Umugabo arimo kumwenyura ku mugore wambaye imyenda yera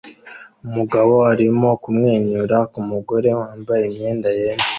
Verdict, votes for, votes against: accepted, 2, 0